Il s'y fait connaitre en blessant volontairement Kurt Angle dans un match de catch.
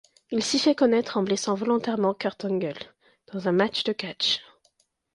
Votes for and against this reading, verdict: 2, 0, accepted